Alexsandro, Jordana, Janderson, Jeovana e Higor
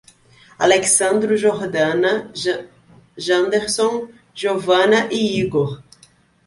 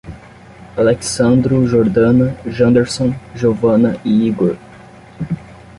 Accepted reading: second